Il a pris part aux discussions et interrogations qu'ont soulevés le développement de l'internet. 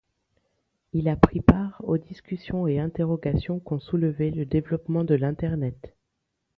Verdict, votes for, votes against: accepted, 2, 0